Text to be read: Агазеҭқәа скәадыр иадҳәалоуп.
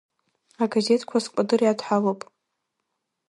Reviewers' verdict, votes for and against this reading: rejected, 0, 2